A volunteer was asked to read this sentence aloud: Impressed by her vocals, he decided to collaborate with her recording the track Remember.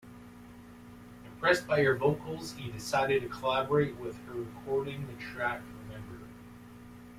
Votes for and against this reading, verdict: 2, 1, accepted